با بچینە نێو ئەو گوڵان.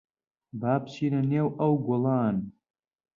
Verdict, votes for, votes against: accepted, 4, 0